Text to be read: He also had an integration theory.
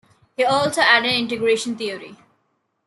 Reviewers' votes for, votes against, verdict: 1, 2, rejected